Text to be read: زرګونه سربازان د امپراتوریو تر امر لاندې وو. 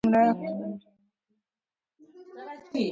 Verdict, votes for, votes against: accepted, 2, 1